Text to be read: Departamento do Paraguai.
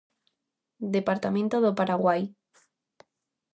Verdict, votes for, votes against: accepted, 2, 0